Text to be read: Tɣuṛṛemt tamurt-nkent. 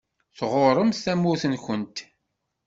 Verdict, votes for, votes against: accepted, 2, 0